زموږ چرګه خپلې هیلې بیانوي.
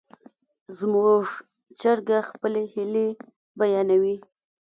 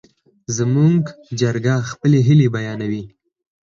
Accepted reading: second